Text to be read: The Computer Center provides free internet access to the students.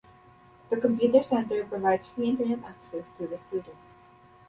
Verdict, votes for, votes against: accepted, 2, 0